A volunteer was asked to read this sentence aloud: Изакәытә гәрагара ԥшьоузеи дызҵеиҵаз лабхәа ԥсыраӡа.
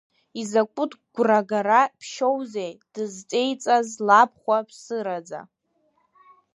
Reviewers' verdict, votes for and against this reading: rejected, 0, 2